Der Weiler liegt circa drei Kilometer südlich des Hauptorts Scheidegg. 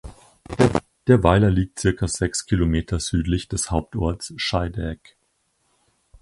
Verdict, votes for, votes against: rejected, 0, 4